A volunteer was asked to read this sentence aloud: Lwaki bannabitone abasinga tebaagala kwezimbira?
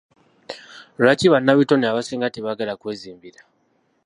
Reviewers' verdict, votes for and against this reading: accepted, 2, 1